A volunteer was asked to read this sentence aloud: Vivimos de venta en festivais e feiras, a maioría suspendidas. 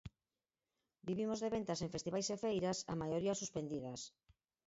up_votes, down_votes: 2, 4